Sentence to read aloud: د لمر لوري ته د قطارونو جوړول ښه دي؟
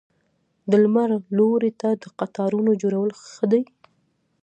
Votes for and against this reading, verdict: 2, 0, accepted